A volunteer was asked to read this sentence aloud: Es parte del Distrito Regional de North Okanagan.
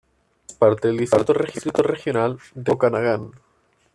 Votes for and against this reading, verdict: 1, 2, rejected